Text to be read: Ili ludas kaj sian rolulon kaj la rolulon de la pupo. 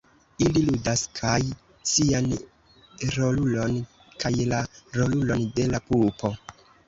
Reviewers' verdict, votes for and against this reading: accepted, 2, 1